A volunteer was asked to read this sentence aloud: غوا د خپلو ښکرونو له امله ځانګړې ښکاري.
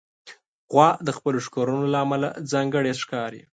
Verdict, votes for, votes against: accepted, 2, 0